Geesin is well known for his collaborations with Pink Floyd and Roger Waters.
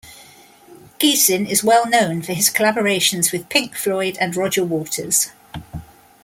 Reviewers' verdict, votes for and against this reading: accepted, 2, 0